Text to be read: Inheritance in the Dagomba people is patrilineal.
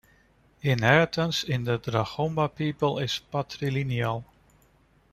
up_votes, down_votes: 1, 2